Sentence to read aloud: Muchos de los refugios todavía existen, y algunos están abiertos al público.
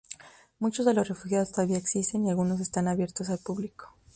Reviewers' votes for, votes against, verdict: 2, 0, accepted